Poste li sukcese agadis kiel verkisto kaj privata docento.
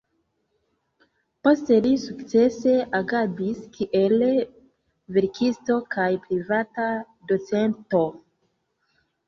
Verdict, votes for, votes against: accepted, 2, 1